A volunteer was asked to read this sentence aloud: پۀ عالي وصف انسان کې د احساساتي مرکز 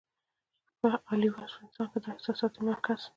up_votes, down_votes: 2, 0